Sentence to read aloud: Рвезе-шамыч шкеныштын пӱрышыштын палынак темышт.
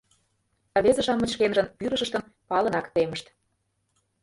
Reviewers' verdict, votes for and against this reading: rejected, 1, 2